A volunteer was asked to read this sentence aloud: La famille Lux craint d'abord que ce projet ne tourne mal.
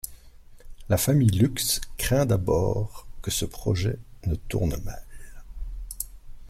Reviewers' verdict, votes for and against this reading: accepted, 2, 0